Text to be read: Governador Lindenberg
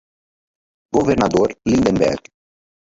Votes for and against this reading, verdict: 2, 2, rejected